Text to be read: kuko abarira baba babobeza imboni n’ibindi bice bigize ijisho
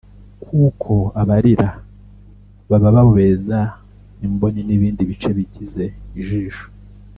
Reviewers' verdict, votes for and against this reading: accepted, 2, 0